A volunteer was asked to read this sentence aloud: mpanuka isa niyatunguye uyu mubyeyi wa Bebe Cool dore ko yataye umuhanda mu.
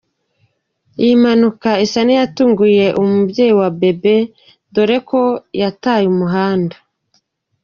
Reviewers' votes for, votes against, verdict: 0, 3, rejected